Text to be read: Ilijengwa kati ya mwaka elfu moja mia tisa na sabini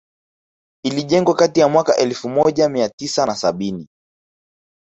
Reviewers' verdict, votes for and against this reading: accepted, 2, 0